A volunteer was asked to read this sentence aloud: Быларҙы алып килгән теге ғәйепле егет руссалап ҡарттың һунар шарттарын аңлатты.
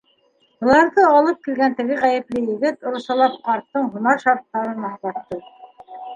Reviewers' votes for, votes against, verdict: 2, 1, accepted